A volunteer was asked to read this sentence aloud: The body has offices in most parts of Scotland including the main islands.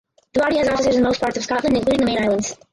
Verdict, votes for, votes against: rejected, 0, 4